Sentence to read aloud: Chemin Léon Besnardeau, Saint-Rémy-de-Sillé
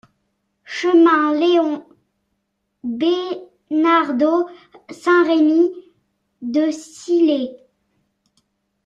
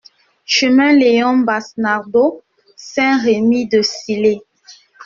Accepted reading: first